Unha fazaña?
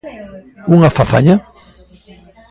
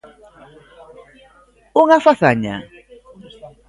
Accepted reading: second